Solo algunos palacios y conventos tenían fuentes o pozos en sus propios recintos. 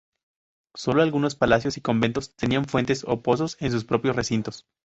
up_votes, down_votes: 2, 0